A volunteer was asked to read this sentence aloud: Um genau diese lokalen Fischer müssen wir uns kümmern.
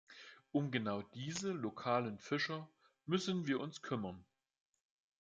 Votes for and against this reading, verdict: 2, 0, accepted